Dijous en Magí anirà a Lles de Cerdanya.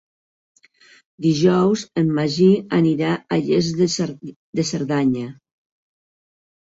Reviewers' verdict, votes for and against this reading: rejected, 0, 3